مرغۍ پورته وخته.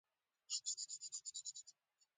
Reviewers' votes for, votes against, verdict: 2, 1, accepted